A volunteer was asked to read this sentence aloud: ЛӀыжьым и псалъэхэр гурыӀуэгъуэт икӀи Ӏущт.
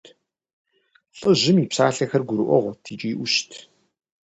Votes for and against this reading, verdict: 2, 0, accepted